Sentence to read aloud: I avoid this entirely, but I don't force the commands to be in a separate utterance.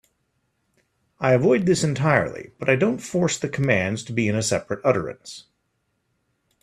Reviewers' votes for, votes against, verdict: 2, 0, accepted